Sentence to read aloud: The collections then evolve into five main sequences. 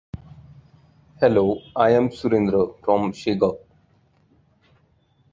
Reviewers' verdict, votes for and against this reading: rejected, 1, 2